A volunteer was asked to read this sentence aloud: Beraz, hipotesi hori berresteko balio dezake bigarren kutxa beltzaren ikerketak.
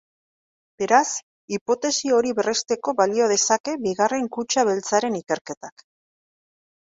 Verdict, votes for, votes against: accepted, 2, 0